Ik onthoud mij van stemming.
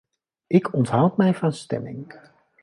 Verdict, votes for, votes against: accepted, 3, 0